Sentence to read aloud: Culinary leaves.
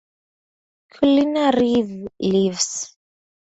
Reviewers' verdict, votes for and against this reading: accepted, 4, 0